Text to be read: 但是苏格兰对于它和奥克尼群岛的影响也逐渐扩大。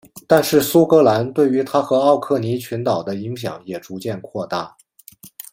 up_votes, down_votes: 2, 0